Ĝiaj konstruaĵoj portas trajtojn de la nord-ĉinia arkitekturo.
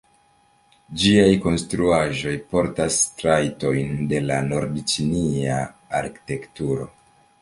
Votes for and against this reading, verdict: 1, 3, rejected